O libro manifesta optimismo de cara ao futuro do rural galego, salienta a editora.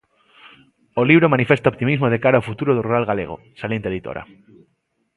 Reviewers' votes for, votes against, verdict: 2, 1, accepted